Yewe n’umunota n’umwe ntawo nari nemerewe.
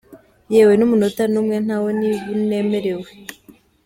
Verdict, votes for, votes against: rejected, 2, 3